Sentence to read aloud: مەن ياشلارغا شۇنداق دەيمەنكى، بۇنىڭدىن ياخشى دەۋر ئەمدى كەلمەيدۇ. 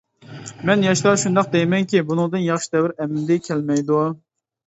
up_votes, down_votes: 1, 2